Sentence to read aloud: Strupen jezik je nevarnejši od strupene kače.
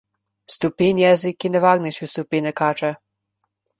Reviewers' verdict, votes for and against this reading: accepted, 2, 0